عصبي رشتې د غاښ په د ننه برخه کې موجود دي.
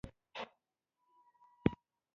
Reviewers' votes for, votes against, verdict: 1, 2, rejected